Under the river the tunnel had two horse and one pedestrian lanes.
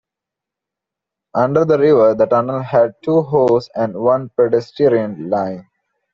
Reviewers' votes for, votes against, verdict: 0, 2, rejected